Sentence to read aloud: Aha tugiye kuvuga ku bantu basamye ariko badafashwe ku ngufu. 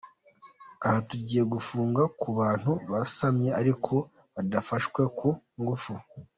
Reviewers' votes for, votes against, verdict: 0, 2, rejected